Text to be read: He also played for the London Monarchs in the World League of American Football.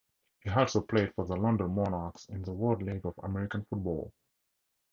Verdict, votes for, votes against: rejected, 2, 2